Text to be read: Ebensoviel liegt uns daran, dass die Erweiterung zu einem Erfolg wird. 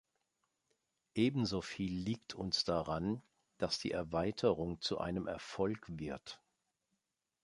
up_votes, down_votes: 2, 1